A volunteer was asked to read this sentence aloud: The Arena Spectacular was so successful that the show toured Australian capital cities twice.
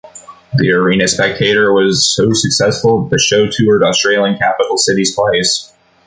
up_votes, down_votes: 1, 2